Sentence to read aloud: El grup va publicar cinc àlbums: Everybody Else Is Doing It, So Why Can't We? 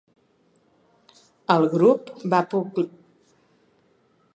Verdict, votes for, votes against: rejected, 0, 3